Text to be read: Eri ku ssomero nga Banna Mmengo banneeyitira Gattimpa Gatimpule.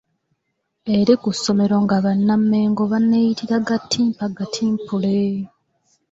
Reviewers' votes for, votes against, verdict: 2, 0, accepted